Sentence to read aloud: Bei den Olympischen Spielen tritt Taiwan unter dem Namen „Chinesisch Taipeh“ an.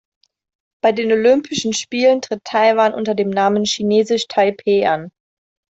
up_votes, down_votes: 2, 0